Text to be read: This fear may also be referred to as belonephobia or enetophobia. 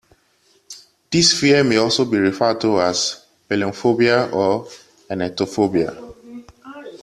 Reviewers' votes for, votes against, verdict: 1, 2, rejected